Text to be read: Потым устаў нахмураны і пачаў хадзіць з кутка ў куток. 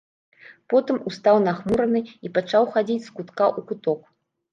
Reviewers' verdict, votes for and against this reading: accepted, 2, 0